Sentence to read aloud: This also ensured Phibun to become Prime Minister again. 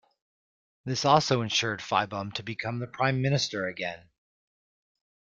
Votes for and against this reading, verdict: 1, 2, rejected